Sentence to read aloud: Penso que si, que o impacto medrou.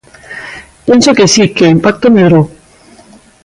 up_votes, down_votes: 2, 0